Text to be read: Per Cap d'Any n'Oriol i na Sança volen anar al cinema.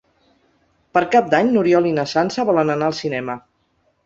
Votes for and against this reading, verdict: 4, 0, accepted